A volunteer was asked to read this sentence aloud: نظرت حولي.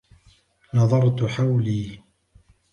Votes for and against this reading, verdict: 2, 0, accepted